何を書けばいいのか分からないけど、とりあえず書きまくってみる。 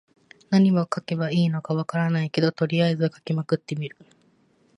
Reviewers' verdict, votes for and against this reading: accepted, 2, 0